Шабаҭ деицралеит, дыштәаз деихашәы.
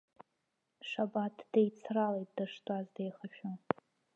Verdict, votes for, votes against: rejected, 1, 2